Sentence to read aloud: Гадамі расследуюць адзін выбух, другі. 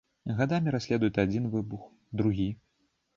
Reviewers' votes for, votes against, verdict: 1, 2, rejected